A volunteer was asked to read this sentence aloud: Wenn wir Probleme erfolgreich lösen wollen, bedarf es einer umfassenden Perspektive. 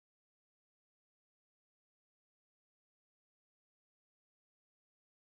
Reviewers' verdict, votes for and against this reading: rejected, 0, 2